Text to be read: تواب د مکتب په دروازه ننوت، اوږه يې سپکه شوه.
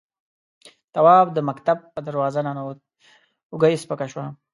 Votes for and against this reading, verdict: 2, 0, accepted